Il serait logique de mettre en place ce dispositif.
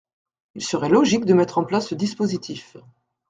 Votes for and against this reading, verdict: 2, 0, accepted